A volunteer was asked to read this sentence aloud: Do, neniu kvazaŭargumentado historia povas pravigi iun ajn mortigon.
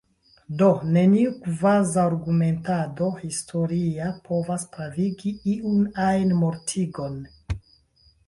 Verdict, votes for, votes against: accepted, 4, 1